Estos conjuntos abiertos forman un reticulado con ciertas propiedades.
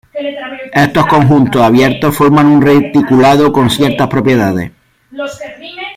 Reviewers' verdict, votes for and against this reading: rejected, 0, 2